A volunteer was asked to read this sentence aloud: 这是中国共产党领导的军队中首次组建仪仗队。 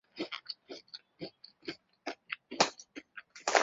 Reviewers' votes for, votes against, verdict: 0, 4, rejected